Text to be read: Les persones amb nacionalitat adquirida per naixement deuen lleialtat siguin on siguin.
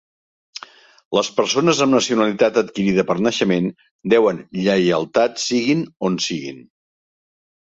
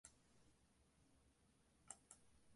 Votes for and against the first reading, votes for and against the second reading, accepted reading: 2, 0, 0, 2, first